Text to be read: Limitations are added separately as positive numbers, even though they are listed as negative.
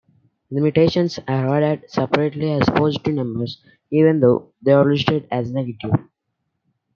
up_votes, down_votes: 2, 0